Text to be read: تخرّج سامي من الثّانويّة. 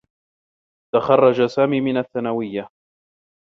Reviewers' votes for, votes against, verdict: 3, 0, accepted